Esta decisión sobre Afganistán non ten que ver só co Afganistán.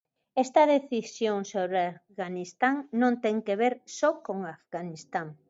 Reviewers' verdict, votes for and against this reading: rejected, 0, 2